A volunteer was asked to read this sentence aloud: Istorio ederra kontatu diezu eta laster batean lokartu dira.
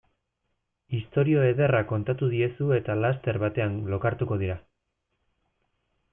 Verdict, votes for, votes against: rejected, 1, 2